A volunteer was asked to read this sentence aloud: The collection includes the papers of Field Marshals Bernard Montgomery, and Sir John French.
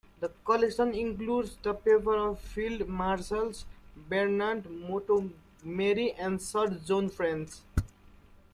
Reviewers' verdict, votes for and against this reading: rejected, 0, 2